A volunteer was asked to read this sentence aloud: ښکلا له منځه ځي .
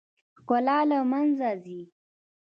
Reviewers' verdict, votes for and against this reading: rejected, 0, 2